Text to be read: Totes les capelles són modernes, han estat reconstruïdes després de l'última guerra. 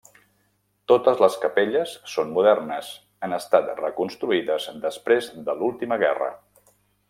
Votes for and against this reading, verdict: 3, 0, accepted